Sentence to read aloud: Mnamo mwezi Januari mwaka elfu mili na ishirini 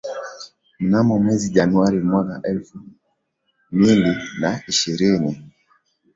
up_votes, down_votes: 2, 1